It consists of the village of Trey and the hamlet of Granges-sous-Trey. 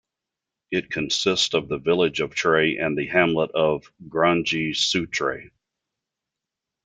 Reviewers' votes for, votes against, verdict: 1, 2, rejected